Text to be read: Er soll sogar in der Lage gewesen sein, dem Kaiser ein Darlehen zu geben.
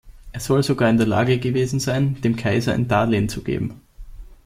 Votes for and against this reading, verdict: 2, 0, accepted